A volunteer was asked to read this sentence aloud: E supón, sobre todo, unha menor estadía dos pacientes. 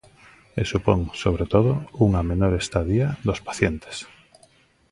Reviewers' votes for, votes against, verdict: 2, 0, accepted